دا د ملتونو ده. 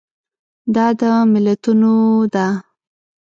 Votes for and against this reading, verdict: 2, 1, accepted